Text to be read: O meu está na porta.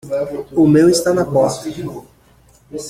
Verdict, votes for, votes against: rejected, 0, 2